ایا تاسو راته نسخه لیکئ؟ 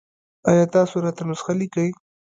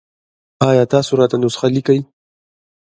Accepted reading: second